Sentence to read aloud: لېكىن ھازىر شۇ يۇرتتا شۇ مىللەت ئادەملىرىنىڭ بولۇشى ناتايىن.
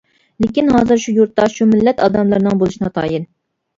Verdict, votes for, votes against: accepted, 2, 0